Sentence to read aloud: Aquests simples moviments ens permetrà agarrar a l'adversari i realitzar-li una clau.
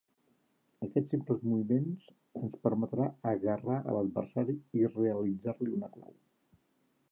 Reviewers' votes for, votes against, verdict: 3, 0, accepted